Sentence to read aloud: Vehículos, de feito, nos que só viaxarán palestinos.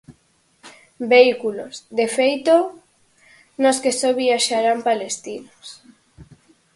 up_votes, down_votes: 4, 0